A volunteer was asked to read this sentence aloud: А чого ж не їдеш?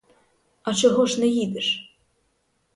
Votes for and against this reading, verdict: 4, 0, accepted